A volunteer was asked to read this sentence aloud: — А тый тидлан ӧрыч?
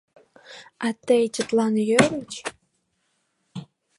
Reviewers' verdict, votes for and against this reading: rejected, 0, 2